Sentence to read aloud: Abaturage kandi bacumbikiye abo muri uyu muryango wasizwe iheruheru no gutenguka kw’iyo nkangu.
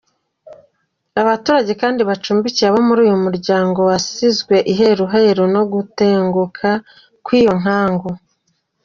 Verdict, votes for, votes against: accepted, 2, 0